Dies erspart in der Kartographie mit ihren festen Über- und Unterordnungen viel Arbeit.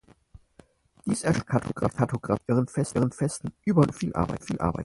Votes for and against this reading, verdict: 0, 4, rejected